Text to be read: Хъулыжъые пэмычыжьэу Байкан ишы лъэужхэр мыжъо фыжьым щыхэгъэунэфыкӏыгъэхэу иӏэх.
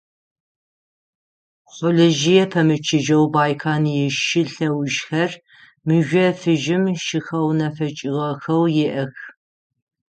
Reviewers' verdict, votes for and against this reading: rejected, 3, 6